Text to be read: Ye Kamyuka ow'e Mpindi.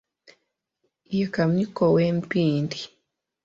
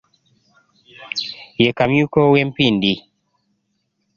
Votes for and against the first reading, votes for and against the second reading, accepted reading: 2, 3, 2, 0, second